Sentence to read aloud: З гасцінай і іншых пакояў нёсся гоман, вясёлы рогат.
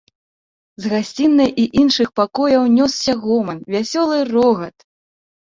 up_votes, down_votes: 3, 0